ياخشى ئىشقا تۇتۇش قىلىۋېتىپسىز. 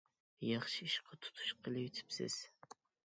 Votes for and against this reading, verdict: 2, 0, accepted